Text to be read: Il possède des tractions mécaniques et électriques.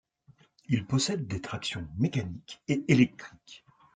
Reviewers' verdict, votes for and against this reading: accepted, 2, 0